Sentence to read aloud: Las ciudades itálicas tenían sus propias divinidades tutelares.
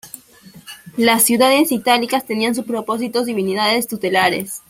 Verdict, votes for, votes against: rejected, 0, 2